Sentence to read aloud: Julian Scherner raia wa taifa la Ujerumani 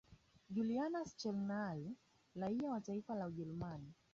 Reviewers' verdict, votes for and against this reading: rejected, 0, 2